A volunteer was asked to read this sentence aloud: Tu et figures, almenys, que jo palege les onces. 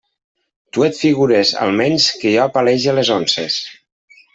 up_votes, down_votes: 2, 0